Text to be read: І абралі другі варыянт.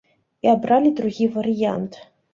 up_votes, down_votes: 2, 0